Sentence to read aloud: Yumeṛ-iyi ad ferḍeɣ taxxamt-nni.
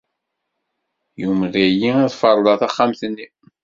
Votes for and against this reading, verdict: 1, 2, rejected